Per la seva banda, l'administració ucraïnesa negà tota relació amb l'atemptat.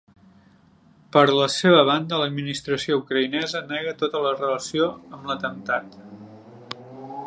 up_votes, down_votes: 3, 0